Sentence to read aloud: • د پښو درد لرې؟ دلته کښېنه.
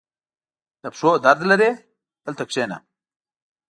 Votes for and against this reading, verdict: 2, 0, accepted